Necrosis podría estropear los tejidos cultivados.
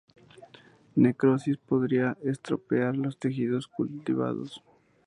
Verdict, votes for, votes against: rejected, 0, 2